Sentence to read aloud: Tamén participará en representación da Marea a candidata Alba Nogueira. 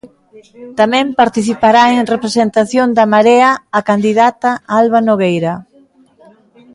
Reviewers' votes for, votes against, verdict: 2, 0, accepted